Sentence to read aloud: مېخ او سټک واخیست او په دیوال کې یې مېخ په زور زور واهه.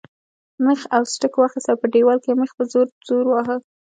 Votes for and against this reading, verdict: 2, 1, accepted